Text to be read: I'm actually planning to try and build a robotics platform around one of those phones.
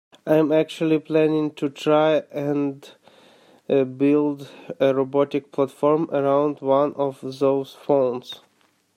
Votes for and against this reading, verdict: 0, 2, rejected